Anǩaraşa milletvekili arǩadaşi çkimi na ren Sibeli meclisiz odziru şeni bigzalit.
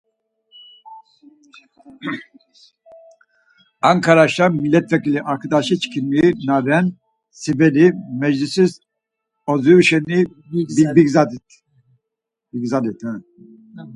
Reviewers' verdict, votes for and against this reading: rejected, 2, 4